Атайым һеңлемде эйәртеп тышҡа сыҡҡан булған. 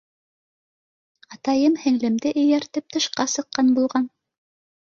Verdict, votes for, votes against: accepted, 2, 0